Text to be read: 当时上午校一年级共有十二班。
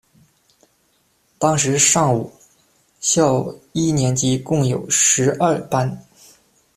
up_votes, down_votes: 2, 0